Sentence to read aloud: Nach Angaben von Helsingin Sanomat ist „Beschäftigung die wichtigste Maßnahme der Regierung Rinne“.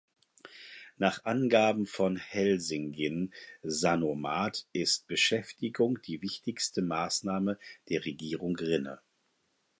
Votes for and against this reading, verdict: 4, 0, accepted